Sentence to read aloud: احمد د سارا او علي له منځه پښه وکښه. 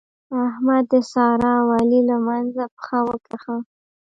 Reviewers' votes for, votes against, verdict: 1, 2, rejected